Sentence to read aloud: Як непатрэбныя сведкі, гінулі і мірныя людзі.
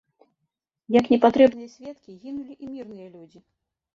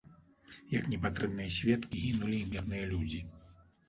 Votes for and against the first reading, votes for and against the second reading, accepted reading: 1, 2, 2, 0, second